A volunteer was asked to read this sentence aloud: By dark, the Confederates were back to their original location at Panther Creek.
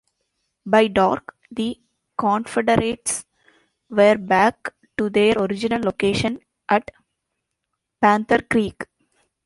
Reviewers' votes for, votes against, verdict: 2, 1, accepted